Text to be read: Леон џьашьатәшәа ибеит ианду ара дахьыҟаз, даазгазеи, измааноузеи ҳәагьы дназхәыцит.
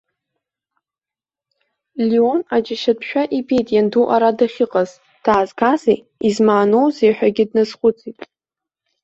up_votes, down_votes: 1, 2